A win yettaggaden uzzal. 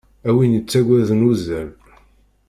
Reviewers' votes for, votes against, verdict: 2, 0, accepted